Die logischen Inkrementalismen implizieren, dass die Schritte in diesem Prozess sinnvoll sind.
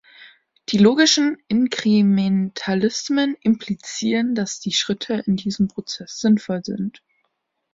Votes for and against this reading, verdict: 1, 2, rejected